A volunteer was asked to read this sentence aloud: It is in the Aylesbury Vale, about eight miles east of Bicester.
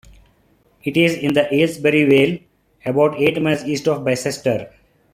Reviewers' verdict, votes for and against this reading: accepted, 2, 0